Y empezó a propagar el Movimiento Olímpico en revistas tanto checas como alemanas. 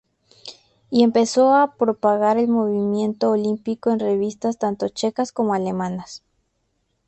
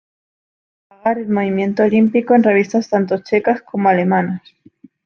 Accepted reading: first